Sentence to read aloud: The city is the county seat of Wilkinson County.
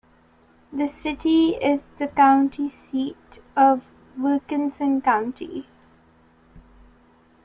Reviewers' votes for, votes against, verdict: 2, 0, accepted